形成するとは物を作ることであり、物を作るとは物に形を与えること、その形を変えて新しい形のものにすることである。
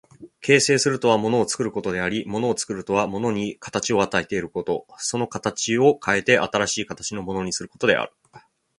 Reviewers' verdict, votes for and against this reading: accepted, 3, 0